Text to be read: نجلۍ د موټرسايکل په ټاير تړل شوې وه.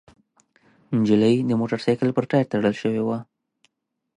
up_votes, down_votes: 2, 0